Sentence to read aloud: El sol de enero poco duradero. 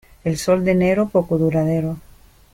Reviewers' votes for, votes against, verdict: 2, 1, accepted